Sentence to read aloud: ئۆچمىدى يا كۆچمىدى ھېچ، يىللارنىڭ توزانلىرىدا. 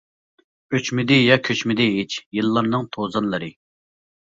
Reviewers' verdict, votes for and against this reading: rejected, 0, 2